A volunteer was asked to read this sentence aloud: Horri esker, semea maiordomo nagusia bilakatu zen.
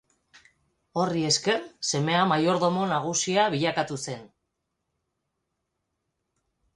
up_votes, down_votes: 6, 0